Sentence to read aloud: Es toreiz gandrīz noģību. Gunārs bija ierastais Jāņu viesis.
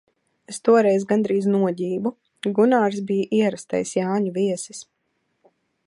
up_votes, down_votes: 2, 0